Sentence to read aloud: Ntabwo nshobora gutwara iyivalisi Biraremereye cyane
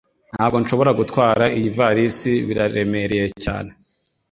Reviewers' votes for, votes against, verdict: 2, 0, accepted